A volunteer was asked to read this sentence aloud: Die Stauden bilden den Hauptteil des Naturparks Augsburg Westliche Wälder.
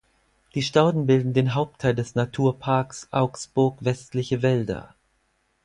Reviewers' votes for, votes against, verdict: 4, 0, accepted